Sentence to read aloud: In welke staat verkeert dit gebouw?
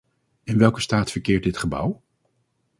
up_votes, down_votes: 4, 0